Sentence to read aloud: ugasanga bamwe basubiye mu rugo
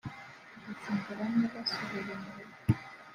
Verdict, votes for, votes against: rejected, 1, 2